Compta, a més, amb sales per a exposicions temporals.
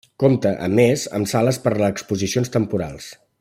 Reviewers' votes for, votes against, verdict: 0, 2, rejected